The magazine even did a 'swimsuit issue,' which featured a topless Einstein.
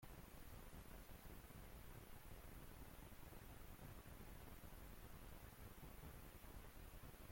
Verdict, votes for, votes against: rejected, 0, 2